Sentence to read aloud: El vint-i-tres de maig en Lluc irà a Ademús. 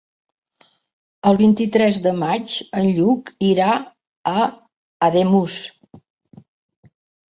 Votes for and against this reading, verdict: 4, 0, accepted